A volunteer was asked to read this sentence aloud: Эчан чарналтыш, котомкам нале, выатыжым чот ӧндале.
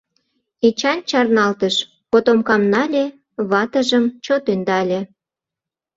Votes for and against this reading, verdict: 0, 2, rejected